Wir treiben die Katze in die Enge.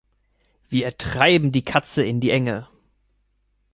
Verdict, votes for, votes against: accepted, 2, 0